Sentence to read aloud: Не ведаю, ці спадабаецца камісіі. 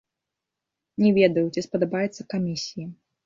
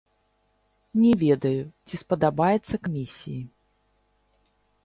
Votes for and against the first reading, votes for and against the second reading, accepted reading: 2, 0, 0, 2, first